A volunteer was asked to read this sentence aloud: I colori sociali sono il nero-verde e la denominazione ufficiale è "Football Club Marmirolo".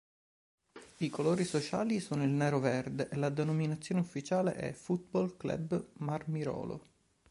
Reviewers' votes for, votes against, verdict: 4, 0, accepted